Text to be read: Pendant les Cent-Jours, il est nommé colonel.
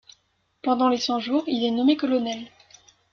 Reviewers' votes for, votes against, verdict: 1, 2, rejected